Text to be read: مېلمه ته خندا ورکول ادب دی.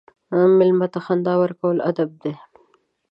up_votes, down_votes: 2, 0